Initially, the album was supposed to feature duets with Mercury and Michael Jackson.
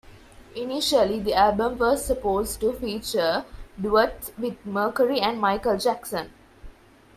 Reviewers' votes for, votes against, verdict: 2, 0, accepted